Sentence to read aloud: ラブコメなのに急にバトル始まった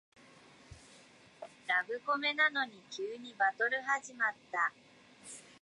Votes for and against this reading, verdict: 0, 2, rejected